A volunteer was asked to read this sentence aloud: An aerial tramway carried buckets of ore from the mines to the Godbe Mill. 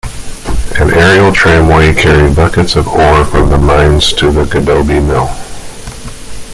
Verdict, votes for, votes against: rejected, 1, 2